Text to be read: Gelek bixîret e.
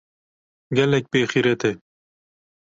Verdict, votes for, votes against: rejected, 1, 2